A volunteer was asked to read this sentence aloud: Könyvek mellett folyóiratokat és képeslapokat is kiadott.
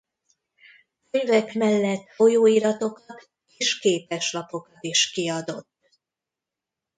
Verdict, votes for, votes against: rejected, 0, 2